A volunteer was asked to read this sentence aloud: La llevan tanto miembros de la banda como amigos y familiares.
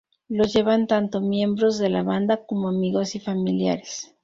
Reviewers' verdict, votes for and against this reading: rejected, 2, 2